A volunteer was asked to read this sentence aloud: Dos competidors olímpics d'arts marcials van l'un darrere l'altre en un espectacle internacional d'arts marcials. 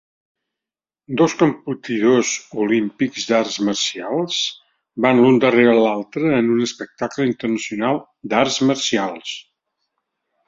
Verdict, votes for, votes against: rejected, 0, 2